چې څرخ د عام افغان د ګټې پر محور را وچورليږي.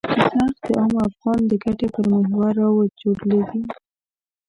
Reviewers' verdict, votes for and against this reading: accepted, 2, 0